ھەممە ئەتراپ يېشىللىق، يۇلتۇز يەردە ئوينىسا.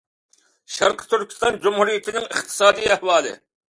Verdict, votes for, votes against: rejected, 0, 2